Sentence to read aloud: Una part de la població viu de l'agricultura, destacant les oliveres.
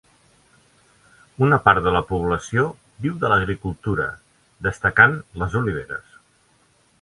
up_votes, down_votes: 2, 0